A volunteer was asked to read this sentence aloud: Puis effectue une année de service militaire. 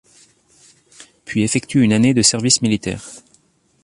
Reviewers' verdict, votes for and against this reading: accepted, 2, 0